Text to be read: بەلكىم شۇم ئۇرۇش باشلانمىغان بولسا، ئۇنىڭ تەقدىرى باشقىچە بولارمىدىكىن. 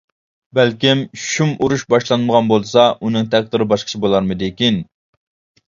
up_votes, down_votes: 2, 1